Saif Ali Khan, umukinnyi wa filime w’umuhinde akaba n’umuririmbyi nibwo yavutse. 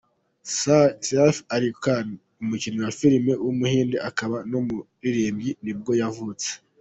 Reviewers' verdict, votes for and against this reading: rejected, 1, 2